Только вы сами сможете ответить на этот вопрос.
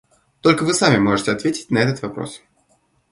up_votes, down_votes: 0, 2